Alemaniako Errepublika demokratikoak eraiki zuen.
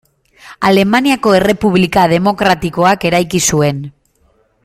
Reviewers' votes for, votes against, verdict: 3, 0, accepted